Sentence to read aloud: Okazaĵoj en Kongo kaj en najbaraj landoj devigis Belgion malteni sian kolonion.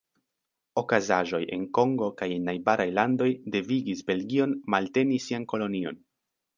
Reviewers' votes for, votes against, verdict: 2, 0, accepted